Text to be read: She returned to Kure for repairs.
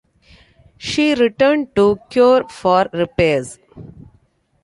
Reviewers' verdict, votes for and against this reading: accepted, 2, 0